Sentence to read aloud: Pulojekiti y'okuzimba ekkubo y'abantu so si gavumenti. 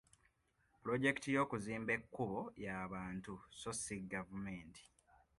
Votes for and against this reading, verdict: 2, 0, accepted